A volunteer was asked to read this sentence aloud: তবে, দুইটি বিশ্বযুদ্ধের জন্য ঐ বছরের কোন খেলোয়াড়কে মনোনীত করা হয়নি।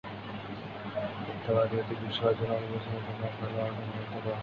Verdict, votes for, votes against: rejected, 2, 10